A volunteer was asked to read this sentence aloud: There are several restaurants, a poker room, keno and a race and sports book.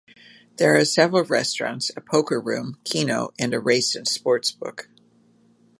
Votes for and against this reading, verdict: 1, 2, rejected